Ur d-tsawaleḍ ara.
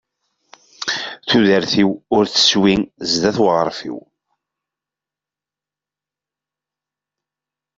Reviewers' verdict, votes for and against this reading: rejected, 1, 3